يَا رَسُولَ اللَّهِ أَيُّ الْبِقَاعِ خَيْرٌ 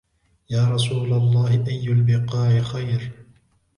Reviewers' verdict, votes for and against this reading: accepted, 3, 0